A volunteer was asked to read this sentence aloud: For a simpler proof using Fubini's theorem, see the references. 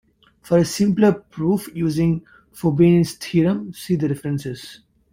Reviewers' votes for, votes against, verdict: 2, 1, accepted